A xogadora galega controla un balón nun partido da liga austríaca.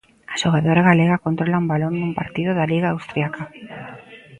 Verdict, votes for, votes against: rejected, 0, 2